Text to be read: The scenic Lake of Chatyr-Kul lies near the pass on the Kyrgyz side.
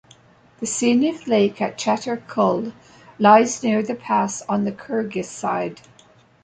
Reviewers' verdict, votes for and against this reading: accepted, 2, 0